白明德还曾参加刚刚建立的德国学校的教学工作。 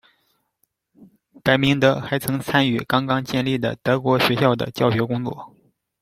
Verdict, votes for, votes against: accepted, 2, 1